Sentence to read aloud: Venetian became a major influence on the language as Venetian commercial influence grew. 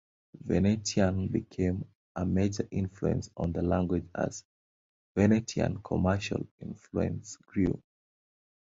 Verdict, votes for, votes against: rejected, 1, 2